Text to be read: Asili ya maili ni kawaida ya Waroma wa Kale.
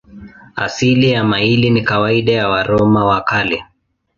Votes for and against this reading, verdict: 2, 0, accepted